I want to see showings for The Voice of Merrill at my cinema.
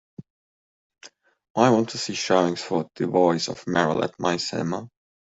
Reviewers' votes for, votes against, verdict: 2, 0, accepted